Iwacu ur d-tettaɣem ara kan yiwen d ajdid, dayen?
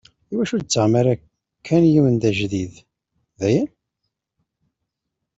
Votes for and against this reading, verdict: 2, 0, accepted